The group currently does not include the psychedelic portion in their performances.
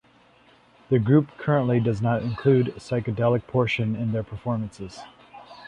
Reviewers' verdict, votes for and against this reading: rejected, 1, 2